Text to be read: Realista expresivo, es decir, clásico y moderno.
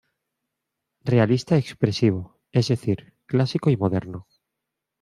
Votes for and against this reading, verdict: 2, 0, accepted